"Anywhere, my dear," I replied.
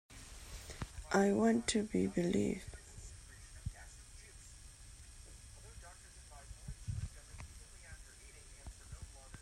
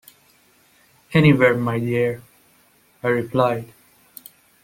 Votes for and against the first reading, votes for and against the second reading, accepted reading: 0, 2, 2, 0, second